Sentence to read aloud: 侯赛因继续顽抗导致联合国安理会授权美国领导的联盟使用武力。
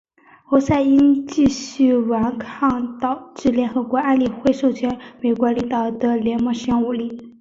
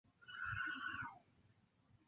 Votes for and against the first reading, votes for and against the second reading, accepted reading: 2, 0, 0, 3, first